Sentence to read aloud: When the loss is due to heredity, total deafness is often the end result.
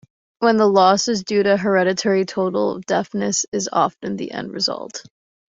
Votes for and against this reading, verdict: 2, 1, accepted